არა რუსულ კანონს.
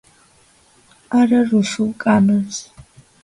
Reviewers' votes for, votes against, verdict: 2, 0, accepted